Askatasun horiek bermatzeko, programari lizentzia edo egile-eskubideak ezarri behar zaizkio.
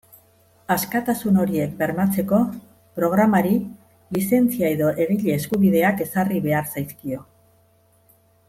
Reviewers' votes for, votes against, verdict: 2, 0, accepted